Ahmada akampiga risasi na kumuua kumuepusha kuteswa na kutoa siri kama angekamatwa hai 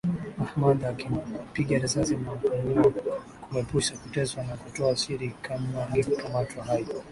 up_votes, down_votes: 2, 1